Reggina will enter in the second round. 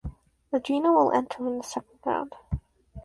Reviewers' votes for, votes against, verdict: 0, 4, rejected